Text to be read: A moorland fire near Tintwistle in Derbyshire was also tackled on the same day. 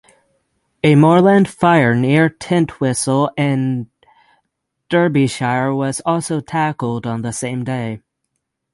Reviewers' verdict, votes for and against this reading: accepted, 6, 0